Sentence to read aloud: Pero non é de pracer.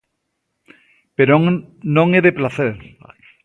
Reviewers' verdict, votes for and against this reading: rejected, 1, 2